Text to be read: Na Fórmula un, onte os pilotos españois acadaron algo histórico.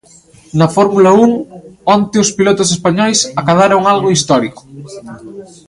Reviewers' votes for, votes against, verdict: 2, 0, accepted